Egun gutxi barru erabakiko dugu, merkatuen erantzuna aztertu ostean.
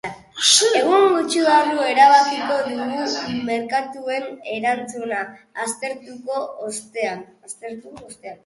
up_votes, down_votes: 0, 3